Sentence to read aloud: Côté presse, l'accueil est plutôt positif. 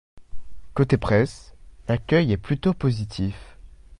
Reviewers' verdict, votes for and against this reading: accepted, 2, 0